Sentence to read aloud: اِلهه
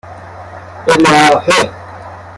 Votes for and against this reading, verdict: 1, 2, rejected